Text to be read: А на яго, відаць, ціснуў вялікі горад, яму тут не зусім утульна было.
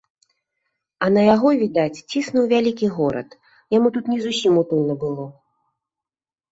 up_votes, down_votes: 2, 0